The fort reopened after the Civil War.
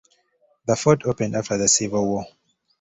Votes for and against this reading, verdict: 1, 2, rejected